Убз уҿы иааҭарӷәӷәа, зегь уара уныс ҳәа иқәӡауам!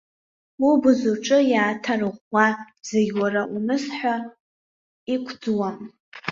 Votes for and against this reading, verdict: 1, 2, rejected